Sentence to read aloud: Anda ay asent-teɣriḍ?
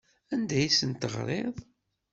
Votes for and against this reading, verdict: 2, 0, accepted